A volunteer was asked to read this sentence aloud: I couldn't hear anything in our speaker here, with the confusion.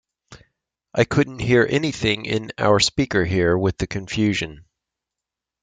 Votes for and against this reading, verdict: 2, 0, accepted